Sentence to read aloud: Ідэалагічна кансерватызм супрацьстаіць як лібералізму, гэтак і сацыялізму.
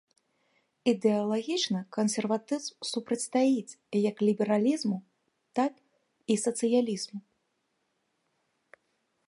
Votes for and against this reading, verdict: 0, 2, rejected